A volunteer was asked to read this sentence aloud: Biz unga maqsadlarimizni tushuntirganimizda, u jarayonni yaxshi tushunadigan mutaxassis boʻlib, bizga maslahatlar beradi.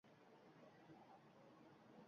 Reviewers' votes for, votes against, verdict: 1, 2, rejected